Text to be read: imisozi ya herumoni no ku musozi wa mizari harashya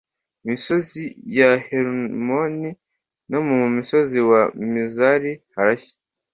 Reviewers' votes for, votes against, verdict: 0, 2, rejected